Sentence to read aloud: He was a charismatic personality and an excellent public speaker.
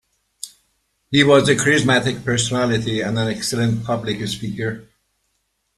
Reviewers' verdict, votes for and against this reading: rejected, 0, 2